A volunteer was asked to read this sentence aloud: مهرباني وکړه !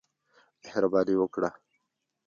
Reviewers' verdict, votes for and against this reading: accepted, 2, 1